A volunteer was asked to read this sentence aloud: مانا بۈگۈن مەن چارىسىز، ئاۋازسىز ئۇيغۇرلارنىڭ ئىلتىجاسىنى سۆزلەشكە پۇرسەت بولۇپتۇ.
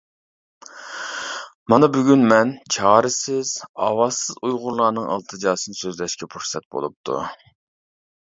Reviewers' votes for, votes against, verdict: 1, 2, rejected